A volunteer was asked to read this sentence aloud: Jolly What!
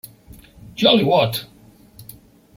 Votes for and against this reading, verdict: 2, 1, accepted